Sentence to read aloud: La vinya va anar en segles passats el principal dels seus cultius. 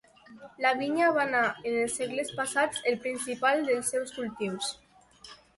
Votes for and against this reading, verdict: 1, 2, rejected